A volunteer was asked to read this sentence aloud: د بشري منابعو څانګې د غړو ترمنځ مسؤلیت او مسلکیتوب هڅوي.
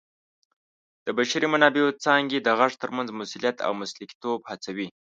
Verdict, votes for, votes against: rejected, 1, 2